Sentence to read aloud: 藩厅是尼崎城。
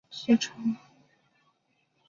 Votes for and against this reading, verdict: 3, 0, accepted